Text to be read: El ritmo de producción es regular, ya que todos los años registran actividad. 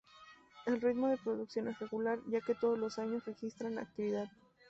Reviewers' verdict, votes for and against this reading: rejected, 0, 2